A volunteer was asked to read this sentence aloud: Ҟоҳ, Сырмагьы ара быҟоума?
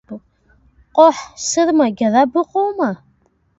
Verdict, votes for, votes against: rejected, 1, 2